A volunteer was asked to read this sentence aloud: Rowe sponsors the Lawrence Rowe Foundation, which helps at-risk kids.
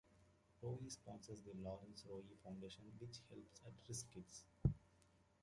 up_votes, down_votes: 0, 2